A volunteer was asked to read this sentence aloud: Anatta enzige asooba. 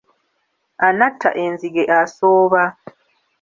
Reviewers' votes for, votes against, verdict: 2, 0, accepted